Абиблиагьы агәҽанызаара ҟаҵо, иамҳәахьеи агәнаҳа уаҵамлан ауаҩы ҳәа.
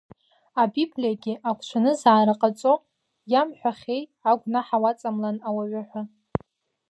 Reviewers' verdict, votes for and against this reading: accepted, 2, 0